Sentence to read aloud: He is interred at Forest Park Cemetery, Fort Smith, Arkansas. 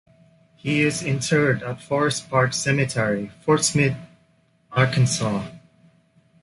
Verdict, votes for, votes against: accepted, 2, 0